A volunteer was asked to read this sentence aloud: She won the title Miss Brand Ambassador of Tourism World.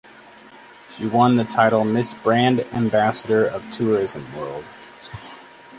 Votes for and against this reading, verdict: 2, 0, accepted